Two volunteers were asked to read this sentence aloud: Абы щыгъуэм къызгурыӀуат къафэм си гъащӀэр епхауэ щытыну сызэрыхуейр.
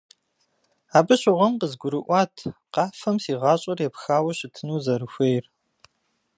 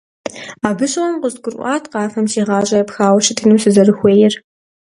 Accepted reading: second